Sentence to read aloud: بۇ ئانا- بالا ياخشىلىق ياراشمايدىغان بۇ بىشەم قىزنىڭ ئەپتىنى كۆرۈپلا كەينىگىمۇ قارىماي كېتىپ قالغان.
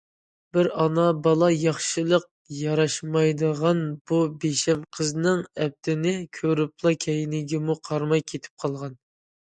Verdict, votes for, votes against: rejected, 1, 2